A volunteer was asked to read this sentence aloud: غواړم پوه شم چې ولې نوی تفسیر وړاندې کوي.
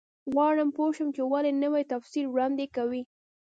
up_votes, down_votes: 1, 2